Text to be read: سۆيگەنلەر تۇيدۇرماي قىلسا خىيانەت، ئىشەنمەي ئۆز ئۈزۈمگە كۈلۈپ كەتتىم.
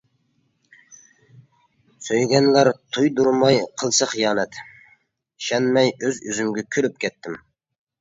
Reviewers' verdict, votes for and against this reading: accepted, 2, 0